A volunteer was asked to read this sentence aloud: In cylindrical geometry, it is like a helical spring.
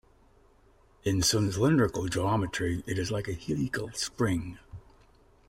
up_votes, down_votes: 1, 2